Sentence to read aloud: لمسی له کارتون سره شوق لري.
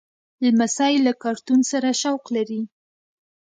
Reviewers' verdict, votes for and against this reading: accepted, 2, 0